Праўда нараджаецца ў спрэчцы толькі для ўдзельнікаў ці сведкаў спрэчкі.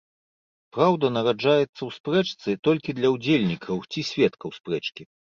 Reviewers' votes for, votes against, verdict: 2, 0, accepted